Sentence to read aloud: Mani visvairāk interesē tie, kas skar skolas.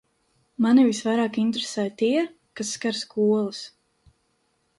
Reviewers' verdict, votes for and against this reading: accepted, 2, 0